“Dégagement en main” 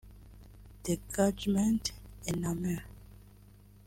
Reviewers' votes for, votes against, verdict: 0, 2, rejected